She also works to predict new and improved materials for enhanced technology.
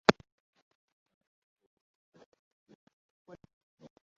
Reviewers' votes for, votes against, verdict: 0, 2, rejected